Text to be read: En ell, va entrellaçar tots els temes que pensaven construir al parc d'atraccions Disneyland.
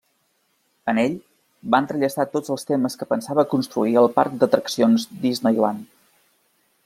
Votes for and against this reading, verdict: 1, 2, rejected